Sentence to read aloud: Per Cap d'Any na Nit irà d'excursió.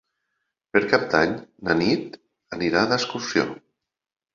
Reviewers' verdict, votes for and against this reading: rejected, 0, 2